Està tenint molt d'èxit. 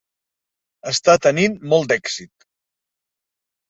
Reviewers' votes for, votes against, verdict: 3, 0, accepted